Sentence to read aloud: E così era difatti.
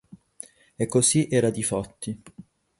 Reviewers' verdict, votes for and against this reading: rejected, 4, 4